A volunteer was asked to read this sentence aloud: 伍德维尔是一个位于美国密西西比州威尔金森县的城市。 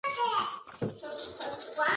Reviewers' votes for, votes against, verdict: 1, 2, rejected